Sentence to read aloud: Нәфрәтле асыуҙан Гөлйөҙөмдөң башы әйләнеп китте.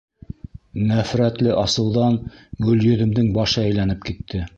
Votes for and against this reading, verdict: 2, 0, accepted